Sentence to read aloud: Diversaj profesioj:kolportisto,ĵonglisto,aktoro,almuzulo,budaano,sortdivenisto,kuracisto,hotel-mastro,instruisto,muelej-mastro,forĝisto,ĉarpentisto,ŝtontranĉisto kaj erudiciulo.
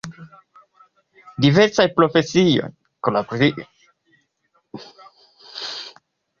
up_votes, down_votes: 1, 2